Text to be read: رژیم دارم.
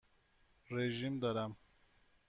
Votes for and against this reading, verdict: 2, 0, accepted